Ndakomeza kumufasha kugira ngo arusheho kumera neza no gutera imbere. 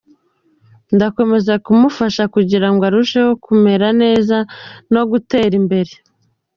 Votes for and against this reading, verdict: 2, 1, accepted